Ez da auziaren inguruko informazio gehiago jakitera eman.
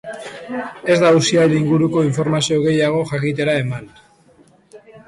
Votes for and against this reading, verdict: 2, 1, accepted